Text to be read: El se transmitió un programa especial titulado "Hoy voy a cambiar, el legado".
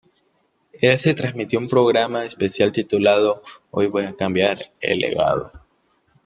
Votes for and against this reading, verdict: 2, 1, accepted